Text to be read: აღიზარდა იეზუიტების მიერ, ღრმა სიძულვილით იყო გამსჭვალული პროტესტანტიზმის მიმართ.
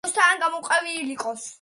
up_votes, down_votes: 0, 2